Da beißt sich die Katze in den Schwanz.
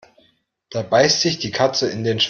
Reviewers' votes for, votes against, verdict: 0, 2, rejected